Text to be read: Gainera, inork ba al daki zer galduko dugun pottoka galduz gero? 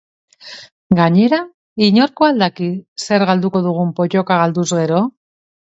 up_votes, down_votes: 2, 0